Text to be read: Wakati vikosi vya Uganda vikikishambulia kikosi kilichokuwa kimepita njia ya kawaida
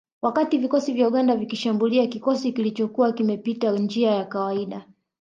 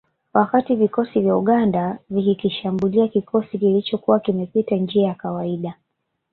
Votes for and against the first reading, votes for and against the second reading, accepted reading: 2, 0, 1, 2, first